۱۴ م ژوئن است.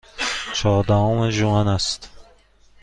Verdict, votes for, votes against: rejected, 0, 2